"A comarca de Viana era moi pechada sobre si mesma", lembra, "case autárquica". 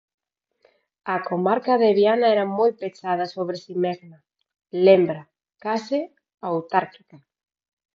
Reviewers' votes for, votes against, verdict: 4, 2, accepted